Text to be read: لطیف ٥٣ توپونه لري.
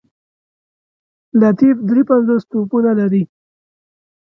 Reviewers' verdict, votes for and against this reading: rejected, 0, 2